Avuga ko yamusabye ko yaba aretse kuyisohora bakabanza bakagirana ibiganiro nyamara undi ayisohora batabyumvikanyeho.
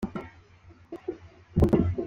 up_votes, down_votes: 0, 2